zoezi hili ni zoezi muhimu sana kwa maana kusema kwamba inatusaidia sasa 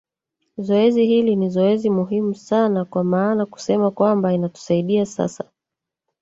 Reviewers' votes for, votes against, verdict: 1, 2, rejected